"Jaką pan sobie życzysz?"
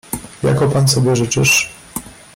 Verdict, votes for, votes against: rejected, 0, 2